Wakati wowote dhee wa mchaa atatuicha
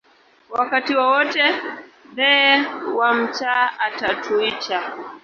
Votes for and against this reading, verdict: 0, 2, rejected